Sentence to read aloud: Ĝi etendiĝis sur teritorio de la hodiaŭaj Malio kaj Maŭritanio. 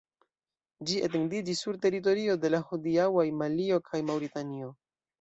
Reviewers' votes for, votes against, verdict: 2, 0, accepted